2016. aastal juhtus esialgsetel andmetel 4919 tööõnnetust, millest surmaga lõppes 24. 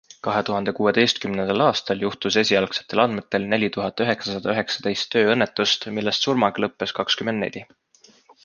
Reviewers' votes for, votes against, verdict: 0, 2, rejected